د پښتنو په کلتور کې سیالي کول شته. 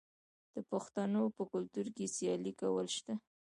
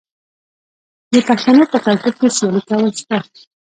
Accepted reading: second